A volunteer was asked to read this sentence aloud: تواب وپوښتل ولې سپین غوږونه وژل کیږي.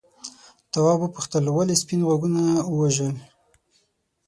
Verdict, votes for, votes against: rejected, 3, 6